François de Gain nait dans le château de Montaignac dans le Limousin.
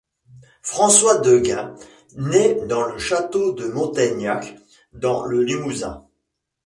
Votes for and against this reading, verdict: 3, 1, accepted